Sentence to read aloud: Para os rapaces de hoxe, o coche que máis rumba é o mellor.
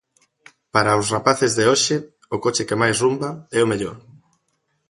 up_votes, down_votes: 2, 0